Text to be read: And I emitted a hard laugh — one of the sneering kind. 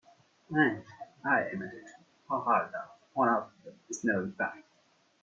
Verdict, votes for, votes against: rejected, 1, 2